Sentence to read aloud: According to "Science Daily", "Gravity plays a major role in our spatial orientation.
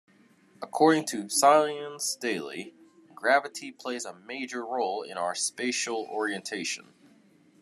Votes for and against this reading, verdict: 2, 1, accepted